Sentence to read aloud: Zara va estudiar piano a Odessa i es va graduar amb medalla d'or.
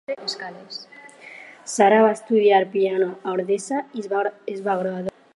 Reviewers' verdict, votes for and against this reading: rejected, 2, 4